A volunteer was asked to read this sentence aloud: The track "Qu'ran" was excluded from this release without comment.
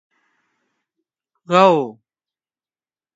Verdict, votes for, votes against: rejected, 0, 2